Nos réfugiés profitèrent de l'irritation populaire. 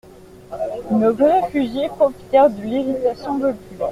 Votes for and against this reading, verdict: 1, 2, rejected